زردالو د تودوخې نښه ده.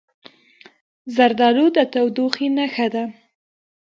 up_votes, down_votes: 1, 2